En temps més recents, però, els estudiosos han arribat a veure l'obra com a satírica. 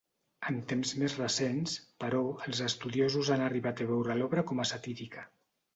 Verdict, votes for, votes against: accepted, 2, 0